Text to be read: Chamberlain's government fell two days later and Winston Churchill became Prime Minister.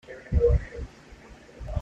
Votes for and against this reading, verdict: 0, 2, rejected